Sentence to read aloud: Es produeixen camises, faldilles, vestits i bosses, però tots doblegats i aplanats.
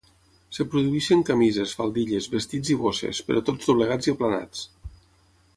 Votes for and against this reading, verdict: 3, 6, rejected